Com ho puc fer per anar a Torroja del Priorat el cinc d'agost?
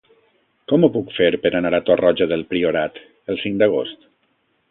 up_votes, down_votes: 2, 0